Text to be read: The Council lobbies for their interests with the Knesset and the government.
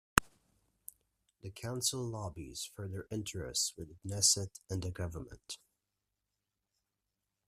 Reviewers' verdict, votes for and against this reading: accepted, 2, 1